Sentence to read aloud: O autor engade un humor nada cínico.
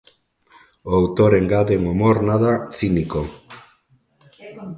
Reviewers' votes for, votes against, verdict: 2, 0, accepted